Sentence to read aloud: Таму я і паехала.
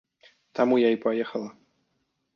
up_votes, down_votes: 2, 0